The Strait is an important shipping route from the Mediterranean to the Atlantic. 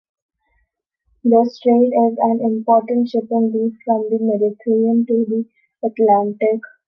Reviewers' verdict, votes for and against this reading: accepted, 2, 1